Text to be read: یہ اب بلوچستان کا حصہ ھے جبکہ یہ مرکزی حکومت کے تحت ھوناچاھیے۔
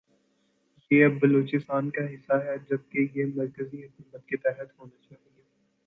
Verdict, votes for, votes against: rejected, 0, 2